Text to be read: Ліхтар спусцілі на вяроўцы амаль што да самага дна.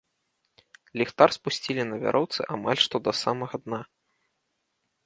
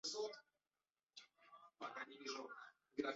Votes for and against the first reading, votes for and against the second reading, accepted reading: 2, 0, 0, 2, first